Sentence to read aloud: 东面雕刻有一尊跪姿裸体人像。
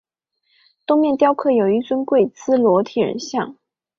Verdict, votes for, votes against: accepted, 3, 0